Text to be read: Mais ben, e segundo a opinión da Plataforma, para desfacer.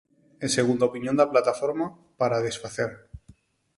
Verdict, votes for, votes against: rejected, 0, 4